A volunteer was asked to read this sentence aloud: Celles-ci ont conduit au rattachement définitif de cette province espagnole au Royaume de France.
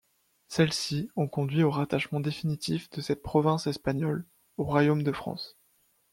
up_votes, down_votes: 2, 0